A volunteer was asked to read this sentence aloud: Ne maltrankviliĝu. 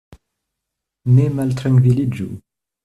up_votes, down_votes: 2, 0